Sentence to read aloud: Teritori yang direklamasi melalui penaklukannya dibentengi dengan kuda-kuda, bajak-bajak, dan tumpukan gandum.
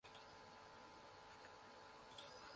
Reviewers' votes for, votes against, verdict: 0, 2, rejected